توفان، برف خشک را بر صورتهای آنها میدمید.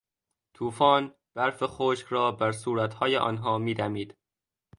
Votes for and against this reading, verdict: 2, 0, accepted